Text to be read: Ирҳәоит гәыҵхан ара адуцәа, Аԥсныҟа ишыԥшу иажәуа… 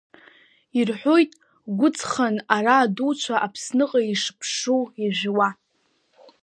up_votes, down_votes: 0, 2